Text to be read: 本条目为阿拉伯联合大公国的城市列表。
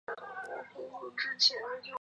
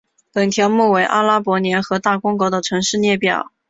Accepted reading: second